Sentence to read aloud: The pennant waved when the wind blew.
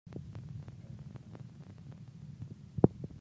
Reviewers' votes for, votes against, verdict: 0, 2, rejected